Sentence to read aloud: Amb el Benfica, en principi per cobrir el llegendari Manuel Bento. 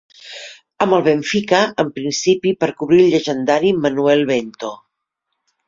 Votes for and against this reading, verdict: 2, 0, accepted